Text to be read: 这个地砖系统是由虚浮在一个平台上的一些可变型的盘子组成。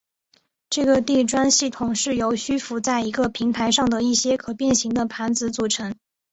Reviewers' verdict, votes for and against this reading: accepted, 2, 0